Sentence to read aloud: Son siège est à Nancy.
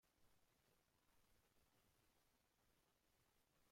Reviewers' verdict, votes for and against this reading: rejected, 0, 2